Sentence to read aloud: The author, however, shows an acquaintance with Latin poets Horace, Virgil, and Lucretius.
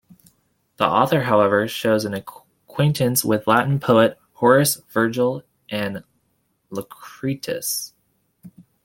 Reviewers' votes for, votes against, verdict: 0, 2, rejected